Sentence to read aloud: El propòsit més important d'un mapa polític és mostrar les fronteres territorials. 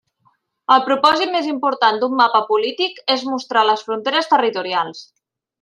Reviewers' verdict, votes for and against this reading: accepted, 3, 0